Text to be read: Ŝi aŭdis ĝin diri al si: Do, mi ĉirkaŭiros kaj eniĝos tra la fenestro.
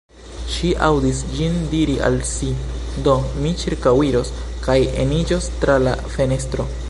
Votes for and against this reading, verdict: 2, 0, accepted